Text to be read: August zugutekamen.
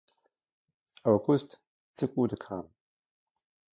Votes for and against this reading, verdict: 2, 0, accepted